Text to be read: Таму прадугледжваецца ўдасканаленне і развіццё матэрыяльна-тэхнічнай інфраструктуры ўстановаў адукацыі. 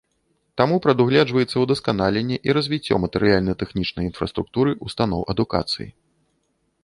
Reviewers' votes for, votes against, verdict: 0, 2, rejected